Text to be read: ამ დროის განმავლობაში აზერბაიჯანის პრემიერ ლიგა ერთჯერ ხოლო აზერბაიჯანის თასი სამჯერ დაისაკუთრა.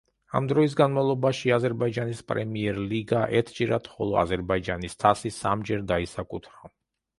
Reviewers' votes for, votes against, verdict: 0, 2, rejected